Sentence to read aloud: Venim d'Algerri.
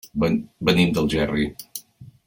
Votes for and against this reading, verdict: 1, 2, rejected